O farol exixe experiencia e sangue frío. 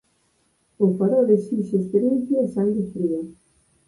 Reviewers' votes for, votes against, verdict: 2, 4, rejected